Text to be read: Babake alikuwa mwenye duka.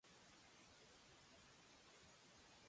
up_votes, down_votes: 0, 2